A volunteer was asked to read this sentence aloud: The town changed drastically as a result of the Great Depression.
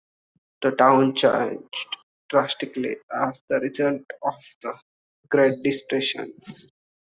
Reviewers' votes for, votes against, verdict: 2, 1, accepted